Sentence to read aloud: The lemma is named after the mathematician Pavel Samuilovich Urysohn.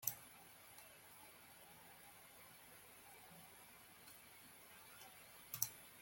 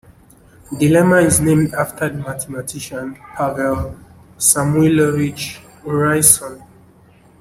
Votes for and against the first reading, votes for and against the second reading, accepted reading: 0, 2, 2, 0, second